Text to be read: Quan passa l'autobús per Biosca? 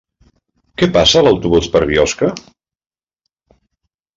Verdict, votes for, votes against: rejected, 0, 2